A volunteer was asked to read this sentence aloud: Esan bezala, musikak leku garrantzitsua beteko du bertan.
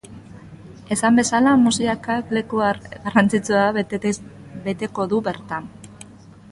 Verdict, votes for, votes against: rejected, 0, 2